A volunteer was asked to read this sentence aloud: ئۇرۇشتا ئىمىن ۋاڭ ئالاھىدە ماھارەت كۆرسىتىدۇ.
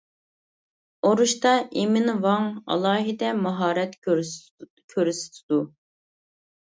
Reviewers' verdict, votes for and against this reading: rejected, 0, 2